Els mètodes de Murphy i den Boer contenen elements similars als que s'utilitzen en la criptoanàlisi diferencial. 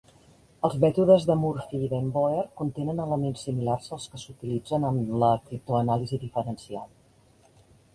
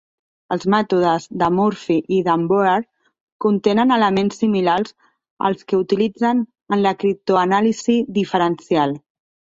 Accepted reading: first